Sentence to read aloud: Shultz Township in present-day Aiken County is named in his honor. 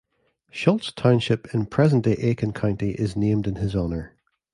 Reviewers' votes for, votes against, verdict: 2, 0, accepted